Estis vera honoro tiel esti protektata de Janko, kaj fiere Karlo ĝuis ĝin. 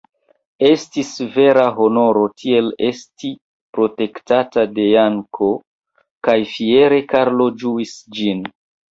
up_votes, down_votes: 1, 2